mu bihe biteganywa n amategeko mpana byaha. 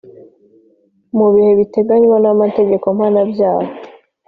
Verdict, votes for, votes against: accepted, 3, 0